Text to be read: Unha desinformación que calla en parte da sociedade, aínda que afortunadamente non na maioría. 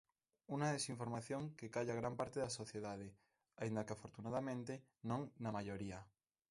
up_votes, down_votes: 0, 2